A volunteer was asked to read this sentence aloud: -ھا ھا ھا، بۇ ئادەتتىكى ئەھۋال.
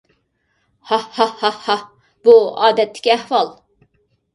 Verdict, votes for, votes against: rejected, 0, 2